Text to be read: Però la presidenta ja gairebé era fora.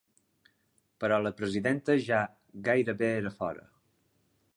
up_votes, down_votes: 3, 0